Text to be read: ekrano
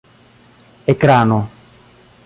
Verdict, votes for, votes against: accepted, 2, 0